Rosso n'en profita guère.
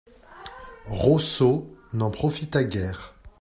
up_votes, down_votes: 2, 0